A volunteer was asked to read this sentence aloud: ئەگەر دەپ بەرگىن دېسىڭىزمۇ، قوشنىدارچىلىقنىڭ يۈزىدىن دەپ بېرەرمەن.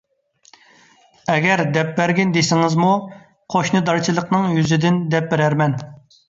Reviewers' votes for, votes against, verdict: 2, 0, accepted